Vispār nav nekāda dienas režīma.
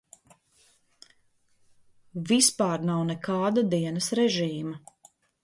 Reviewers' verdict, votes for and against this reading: accepted, 2, 0